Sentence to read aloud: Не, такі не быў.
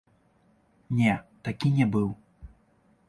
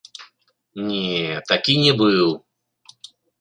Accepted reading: second